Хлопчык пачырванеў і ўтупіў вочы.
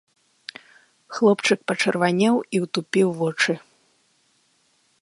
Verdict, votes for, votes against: accepted, 3, 1